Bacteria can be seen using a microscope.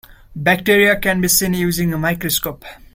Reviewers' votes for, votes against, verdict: 2, 0, accepted